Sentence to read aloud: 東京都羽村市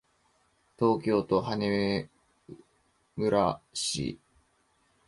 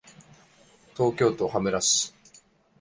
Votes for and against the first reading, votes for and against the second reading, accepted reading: 1, 3, 2, 0, second